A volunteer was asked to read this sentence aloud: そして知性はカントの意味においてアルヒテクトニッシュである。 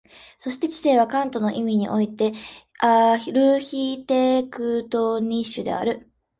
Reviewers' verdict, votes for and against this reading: accepted, 2, 1